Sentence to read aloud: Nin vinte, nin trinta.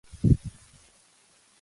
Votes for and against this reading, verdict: 0, 2, rejected